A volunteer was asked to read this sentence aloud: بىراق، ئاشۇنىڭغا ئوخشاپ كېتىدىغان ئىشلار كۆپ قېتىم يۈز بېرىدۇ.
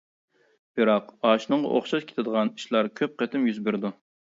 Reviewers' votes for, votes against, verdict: 0, 2, rejected